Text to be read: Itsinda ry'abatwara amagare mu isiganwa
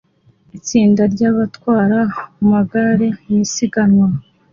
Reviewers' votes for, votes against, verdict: 2, 0, accepted